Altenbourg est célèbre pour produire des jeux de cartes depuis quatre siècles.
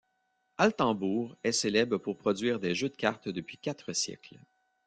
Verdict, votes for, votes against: accepted, 2, 0